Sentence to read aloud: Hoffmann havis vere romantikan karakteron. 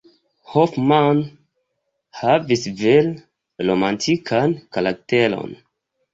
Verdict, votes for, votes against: rejected, 0, 2